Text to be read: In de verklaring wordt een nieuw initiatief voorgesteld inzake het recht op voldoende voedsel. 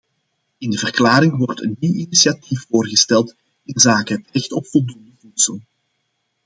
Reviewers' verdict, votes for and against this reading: rejected, 0, 2